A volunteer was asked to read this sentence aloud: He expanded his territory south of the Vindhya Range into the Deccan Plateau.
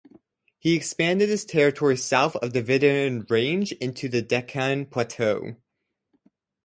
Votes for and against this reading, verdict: 2, 2, rejected